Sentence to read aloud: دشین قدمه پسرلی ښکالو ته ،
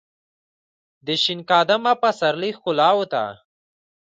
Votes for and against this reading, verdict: 0, 2, rejected